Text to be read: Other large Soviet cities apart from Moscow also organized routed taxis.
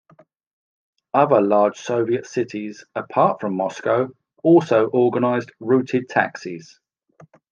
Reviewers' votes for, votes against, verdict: 2, 0, accepted